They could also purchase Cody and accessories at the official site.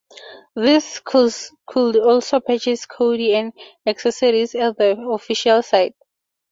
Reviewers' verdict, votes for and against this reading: rejected, 0, 4